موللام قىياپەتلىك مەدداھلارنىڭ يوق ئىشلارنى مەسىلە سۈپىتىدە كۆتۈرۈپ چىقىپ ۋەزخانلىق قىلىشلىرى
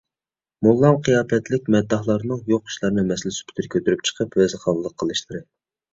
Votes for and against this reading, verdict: 2, 0, accepted